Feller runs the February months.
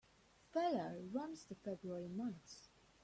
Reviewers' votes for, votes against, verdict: 2, 0, accepted